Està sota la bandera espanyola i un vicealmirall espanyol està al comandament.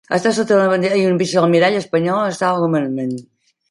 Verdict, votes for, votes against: rejected, 0, 2